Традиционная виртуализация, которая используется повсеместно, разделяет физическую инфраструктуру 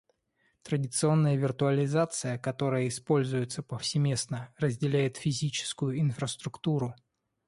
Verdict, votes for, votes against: accepted, 2, 0